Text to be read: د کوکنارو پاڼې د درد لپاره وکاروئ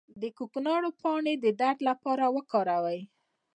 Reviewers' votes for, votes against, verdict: 2, 0, accepted